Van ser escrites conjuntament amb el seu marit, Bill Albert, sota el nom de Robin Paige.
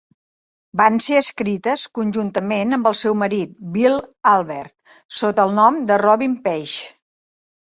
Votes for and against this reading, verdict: 2, 0, accepted